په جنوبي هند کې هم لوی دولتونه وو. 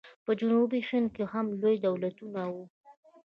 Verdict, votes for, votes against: rejected, 1, 2